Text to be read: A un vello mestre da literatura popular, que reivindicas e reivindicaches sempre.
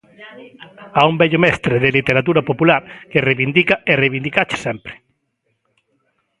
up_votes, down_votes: 0, 2